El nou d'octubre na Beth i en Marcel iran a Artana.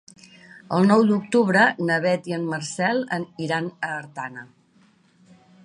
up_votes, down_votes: 1, 2